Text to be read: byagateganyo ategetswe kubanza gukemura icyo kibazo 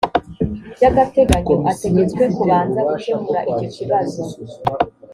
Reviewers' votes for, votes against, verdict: 3, 0, accepted